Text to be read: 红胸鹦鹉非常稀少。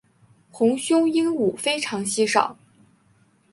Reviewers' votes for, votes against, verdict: 3, 0, accepted